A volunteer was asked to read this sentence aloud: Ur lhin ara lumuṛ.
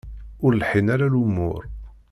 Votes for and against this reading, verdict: 0, 2, rejected